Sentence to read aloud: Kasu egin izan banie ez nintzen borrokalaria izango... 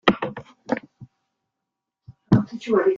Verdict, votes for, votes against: rejected, 0, 2